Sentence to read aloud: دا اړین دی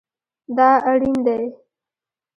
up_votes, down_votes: 2, 0